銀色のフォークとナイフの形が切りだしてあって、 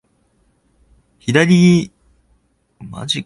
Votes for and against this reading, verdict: 0, 2, rejected